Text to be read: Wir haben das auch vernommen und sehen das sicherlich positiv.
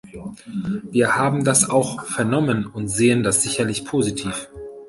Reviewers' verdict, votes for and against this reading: accepted, 2, 0